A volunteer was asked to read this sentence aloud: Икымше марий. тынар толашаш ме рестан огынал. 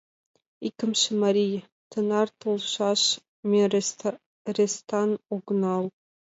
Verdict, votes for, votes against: rejected, 1, 2